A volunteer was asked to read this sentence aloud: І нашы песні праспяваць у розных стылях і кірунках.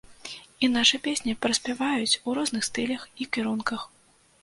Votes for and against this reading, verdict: 1, 2, rejected